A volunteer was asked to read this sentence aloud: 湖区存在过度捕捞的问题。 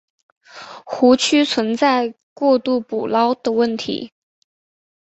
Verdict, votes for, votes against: accepted, 2, 0